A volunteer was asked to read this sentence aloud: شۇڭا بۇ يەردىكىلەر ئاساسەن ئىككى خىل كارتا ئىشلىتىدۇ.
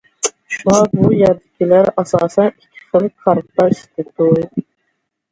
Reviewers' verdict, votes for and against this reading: rejected, 0, 2